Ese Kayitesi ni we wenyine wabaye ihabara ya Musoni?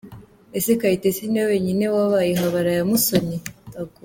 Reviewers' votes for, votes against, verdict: 2, 0, accepted